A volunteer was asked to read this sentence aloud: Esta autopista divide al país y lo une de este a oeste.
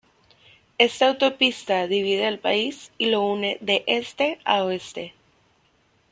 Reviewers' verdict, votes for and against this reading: rejected, 0, 2